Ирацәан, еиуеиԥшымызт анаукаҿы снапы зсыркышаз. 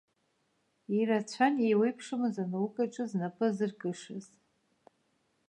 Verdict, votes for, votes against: rejected, 1, 2